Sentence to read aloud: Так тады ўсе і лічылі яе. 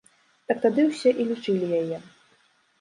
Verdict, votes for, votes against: accepted, 2, 0